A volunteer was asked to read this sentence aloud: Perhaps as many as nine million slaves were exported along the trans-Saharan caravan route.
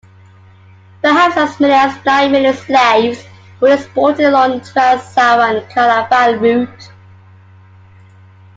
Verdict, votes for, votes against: rejected, 1, 2